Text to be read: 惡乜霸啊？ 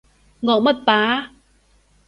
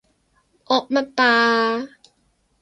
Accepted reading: first